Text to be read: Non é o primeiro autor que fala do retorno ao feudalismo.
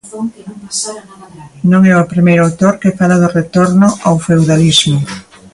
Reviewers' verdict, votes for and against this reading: rejected, 1, 2